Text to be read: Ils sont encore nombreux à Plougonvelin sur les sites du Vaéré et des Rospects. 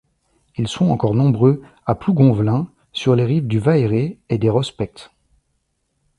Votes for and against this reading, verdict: 1, 2, rejected